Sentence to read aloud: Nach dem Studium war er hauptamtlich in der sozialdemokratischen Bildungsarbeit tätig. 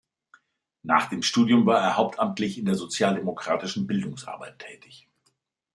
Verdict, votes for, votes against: accepted, 2, 0